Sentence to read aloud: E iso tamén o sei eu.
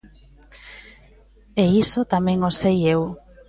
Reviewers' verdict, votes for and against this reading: accepted, 2, 0